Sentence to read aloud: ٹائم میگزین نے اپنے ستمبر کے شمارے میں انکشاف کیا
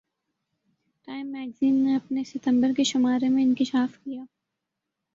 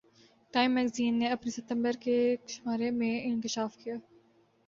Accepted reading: second